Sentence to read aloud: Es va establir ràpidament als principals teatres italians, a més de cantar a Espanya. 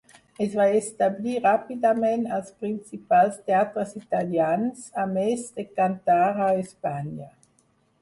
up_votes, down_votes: 0, 4